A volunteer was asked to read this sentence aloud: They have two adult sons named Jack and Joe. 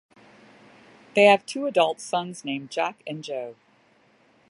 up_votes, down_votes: 2, 0